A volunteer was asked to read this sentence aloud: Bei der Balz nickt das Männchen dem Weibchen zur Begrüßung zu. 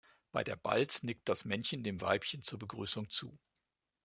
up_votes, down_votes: 2, 1